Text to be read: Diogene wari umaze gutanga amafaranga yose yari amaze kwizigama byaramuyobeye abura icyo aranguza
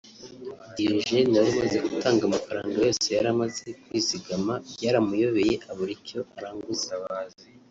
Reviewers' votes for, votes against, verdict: 0, 2, rejected